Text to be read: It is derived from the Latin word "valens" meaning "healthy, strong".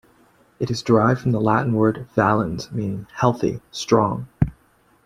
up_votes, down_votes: 2, 1